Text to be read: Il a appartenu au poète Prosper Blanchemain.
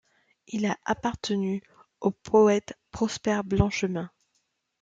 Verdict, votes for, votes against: accepted, 2, 1